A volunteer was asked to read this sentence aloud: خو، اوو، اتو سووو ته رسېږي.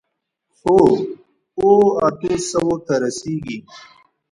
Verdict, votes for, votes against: rejected, 1, 2